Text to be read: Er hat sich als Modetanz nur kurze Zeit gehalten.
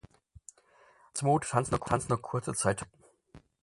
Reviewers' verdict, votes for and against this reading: rejected, 0, 4